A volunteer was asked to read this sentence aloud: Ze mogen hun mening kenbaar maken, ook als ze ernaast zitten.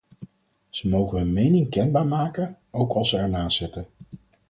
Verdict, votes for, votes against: accepted, 4, 0